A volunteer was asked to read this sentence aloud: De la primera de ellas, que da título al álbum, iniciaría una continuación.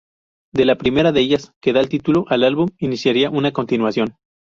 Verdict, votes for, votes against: rejected, 0, 2